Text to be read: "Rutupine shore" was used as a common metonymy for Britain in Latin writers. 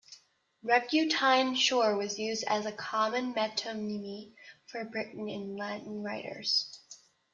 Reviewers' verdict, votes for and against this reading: rejected, 0, 2